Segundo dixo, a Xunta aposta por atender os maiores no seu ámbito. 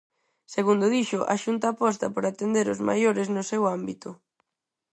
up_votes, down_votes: 4, 0